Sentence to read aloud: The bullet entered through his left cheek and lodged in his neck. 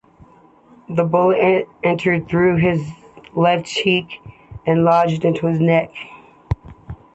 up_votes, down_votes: 3, 2